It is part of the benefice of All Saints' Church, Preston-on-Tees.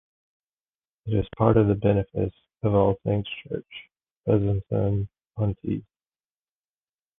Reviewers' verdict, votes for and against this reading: rejected, 0, 2